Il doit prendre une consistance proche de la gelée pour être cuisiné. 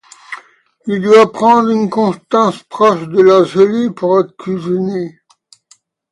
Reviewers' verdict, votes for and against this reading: rejected, 0, 2